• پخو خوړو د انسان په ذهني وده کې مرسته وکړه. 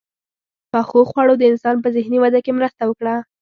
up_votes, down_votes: 2, 0